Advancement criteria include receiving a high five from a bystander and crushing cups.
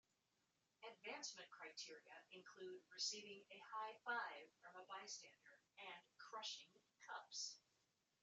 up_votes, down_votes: 1, 2